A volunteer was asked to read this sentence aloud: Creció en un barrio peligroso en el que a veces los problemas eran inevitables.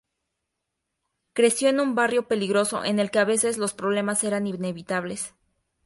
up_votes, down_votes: 4, 0